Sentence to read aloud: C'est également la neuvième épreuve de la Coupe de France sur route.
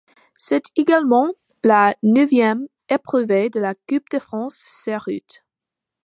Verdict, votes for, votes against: rejected, 0, 2